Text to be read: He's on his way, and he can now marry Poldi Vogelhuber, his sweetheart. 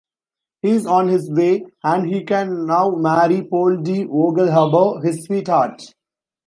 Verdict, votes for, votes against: rejected, 1, 2